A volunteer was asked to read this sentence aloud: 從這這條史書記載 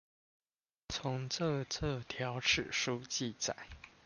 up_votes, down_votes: 1, 2